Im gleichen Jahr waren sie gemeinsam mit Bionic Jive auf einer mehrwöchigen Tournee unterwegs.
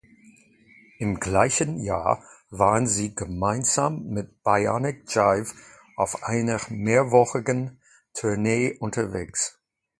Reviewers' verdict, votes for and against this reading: rejected, 0, 2